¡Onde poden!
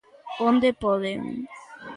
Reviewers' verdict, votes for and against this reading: accepted, 2, 0